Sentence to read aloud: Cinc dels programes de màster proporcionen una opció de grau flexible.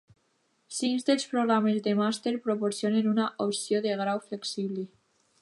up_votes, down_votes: 0, 2